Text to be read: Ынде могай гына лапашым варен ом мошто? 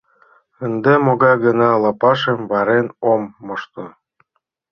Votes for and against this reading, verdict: 2, 0, accepted